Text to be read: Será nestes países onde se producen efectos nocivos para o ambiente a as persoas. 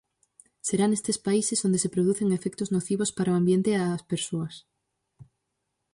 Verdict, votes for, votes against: rejected, 2, 2